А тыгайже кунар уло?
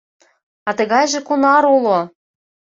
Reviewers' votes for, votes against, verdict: 2, 0, accepted